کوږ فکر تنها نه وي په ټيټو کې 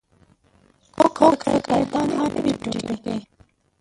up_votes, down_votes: 0, 2